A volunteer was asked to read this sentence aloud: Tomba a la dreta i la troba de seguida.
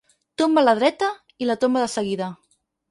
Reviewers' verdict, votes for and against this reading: rejected, 2, 4